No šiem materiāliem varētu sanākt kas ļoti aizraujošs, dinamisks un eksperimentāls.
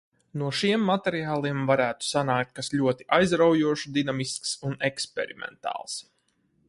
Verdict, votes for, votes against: rejected, 2, 2